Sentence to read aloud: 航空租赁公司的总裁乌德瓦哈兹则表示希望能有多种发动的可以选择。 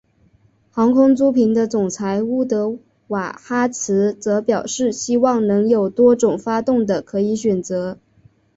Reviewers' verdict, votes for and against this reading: rejected, 0, 2